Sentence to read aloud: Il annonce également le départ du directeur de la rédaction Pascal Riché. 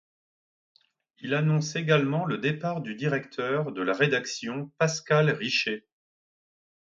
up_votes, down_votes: 2, 0